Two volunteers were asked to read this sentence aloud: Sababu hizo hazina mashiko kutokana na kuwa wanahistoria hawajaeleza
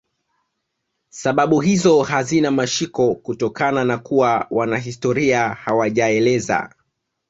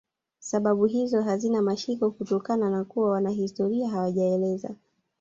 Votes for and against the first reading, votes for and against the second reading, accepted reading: 2, 1, 1, 2, first